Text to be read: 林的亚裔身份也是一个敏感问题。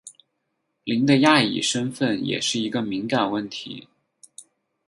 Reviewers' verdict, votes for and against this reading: accepted, 4, 0